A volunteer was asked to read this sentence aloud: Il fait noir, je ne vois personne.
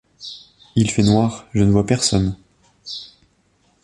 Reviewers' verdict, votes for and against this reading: accepted, 2, 0